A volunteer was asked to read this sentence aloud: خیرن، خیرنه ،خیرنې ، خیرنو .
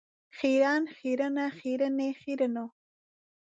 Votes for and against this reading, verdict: 2, 0, accepted